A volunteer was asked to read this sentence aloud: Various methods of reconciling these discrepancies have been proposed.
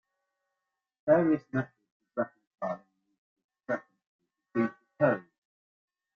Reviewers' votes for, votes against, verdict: 0, 2, rejected